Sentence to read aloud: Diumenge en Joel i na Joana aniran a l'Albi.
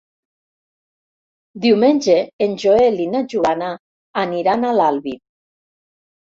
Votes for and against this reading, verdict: 3, 0, accepted